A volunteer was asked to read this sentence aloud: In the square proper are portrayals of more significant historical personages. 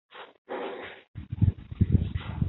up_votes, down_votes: 0, 2